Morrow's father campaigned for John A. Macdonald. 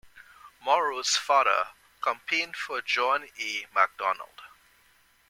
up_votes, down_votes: 0, 2